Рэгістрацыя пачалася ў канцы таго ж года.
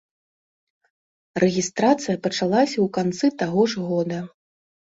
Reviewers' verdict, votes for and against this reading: accepted, 2, 0